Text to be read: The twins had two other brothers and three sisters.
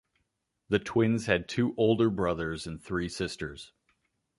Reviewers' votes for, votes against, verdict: 0, 2, rejected